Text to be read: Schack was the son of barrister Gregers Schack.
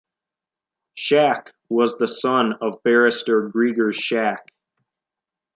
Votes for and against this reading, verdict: 2, 0, accepted